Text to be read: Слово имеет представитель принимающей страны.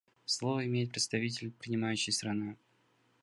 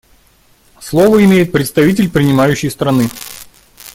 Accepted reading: second